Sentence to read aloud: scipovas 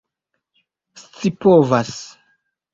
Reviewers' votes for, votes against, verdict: 2, 0, accepted